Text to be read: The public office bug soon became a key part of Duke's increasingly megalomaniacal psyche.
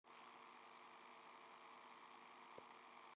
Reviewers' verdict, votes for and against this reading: rejected, 0, 2